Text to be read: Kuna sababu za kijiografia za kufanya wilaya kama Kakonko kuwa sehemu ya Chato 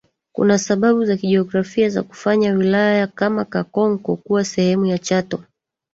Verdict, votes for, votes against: rejected, 1, 2